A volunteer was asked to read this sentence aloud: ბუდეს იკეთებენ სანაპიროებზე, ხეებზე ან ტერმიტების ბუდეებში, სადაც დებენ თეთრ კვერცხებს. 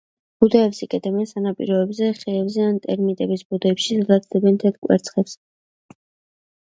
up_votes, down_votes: 0, 2